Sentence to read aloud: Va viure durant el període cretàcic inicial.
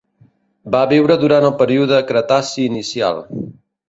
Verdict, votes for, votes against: rejected, 0, 2